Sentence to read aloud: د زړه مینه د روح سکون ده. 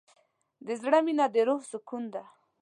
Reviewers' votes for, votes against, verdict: 2, 0, accepted